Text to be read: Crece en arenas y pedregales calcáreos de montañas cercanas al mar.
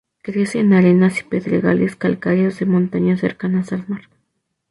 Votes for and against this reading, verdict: 4, 0, accepted